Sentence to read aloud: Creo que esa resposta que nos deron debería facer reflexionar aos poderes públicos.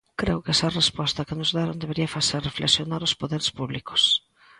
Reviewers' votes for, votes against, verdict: 2, 0, accepted